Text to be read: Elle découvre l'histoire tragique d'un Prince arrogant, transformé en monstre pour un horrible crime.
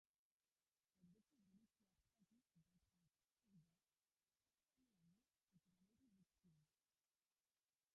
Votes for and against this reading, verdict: 0, 2, rejected